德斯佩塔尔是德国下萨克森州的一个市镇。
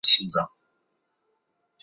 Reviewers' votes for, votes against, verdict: 0, 5, rejected